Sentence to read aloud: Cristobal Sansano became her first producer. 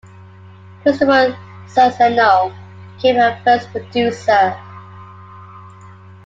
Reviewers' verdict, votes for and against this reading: rejected, 0, 2